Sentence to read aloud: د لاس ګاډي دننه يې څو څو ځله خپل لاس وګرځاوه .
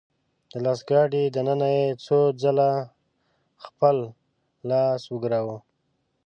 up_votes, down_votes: 0, 2